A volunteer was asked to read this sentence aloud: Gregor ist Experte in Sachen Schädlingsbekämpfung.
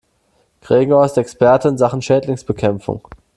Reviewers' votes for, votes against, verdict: 2, 0, accepted